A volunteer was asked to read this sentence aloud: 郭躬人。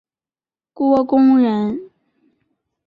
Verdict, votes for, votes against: accepted, 2, 0